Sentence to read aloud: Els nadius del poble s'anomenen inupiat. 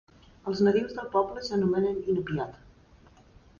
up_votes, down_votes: 3, 0